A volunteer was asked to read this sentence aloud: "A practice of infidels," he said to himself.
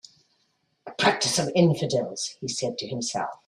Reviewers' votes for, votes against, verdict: 1, 2, rejected